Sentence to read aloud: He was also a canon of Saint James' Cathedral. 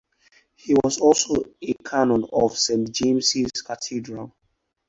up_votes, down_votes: 4, 0